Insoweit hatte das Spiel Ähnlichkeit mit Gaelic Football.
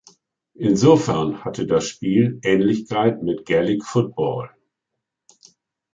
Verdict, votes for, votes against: rejected, 0, 2